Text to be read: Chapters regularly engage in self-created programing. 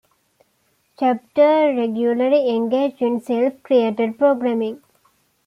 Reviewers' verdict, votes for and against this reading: rejected, 0, 2